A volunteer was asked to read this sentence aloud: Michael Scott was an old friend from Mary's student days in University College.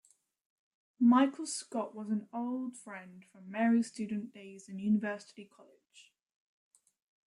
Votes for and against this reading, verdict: 1, 2, rejected